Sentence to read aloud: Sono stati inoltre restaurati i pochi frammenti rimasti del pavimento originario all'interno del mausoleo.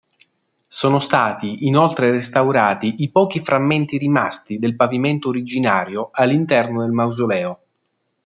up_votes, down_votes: 2, 0